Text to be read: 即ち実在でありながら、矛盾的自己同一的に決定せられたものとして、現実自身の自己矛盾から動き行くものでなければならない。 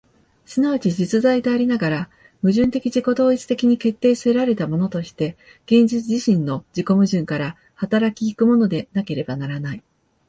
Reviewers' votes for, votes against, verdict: 4, 3, accepted